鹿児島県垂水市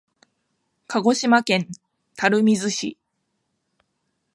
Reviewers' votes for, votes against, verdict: 2, 0, accepted